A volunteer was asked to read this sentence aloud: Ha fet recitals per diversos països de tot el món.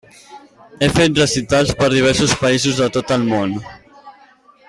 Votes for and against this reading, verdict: 2, 3, rejected